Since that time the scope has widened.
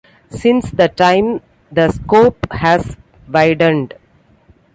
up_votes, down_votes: 2, 1